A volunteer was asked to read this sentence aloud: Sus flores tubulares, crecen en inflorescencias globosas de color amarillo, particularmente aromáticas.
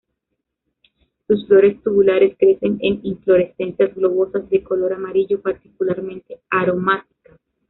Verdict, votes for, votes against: rejected, 1, 2